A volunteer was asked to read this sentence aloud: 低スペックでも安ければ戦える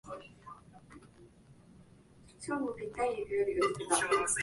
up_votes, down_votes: 0, 2